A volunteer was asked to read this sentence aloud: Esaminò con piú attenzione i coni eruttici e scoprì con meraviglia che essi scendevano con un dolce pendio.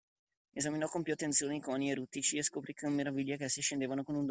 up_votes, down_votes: 0, 2